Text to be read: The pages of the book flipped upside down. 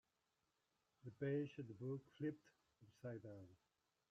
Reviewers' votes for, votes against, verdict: 0, 2, rejected